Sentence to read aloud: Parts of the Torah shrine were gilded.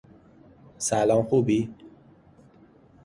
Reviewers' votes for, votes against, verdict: 0, 2, rejected